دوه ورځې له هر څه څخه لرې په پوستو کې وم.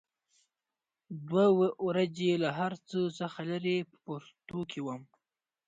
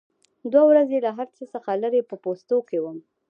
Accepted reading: second